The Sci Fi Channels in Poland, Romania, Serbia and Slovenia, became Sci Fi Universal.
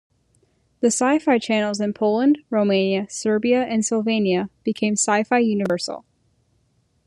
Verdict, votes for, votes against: accepted, 2, 0